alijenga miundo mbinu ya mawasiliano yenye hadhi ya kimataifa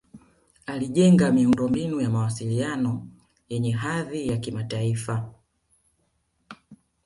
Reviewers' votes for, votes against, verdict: 2, 1, accepted